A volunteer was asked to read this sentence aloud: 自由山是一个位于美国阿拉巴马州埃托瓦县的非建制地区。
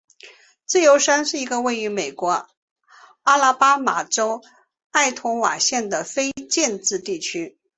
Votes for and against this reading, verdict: 2, 0, accepted